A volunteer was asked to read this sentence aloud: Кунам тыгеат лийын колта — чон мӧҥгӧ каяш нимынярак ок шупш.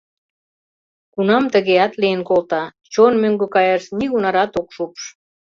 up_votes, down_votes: 0, 3